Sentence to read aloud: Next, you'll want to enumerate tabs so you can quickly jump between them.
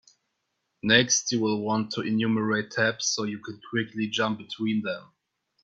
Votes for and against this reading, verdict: 1, 2, rejected